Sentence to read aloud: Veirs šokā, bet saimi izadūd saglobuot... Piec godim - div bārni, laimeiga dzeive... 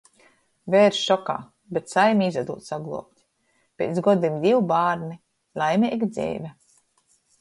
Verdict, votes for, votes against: rejected, 0, 2